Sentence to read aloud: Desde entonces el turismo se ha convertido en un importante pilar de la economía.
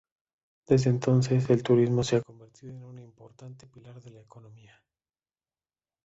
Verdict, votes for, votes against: rejected, 0, 2